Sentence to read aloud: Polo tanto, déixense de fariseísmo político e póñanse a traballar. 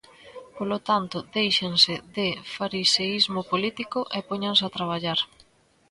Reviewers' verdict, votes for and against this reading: rejected, 1, 2